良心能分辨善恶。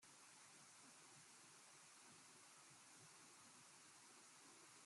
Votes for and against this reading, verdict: 0, 3, rejected